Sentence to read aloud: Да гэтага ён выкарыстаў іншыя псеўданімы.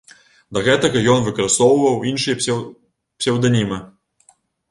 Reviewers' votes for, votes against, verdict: 0, 2, rejected